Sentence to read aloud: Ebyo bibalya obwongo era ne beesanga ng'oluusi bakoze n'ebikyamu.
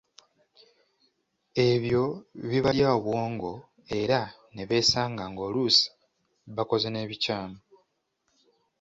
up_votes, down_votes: 2, 1